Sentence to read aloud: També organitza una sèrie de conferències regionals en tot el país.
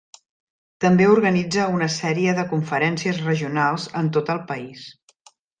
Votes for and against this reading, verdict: 3, 0, accepted